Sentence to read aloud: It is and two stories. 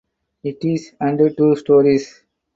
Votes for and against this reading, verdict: 4, 0, accepted